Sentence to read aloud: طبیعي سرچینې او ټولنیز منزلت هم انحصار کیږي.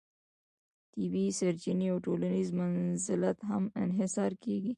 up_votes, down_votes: 1, 2